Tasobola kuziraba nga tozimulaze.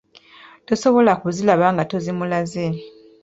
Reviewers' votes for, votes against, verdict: 2, 3, rejected